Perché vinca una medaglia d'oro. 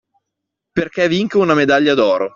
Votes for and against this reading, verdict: 2, 0, accepted